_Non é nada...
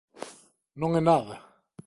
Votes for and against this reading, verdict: 2, 0, accepted